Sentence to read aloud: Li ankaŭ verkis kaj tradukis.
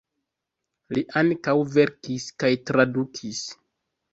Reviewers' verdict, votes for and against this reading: accepted, 2, 1